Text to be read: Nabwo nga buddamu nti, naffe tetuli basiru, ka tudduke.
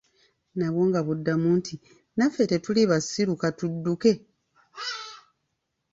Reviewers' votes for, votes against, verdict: 2, 0, accepted